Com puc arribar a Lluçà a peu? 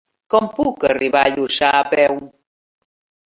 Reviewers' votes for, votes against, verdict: 2, 0, accepted